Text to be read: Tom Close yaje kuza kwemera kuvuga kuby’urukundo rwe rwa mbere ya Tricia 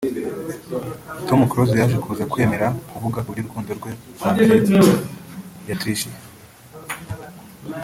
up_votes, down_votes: 1, 2